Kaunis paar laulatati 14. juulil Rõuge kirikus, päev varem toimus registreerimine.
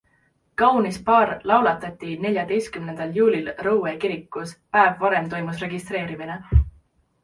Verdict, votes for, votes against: rejected, 0, 2